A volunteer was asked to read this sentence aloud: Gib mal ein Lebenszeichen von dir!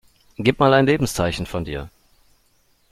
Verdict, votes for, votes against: accepted, 2, 0